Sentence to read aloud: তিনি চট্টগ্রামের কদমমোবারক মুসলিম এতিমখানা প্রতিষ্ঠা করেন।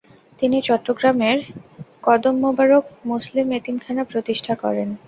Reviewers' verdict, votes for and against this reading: rejected, 0, 2